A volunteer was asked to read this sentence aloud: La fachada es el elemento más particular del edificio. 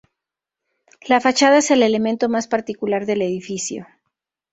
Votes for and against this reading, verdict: 2, 0, accepted